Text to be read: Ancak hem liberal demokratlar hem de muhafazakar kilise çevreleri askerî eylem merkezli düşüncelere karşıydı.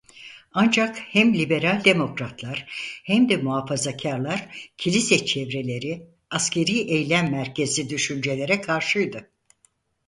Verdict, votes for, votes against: rejected, 0, 4